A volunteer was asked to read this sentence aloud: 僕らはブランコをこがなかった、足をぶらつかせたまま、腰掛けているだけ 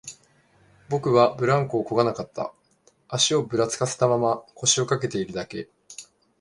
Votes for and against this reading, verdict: 0, 2, rejected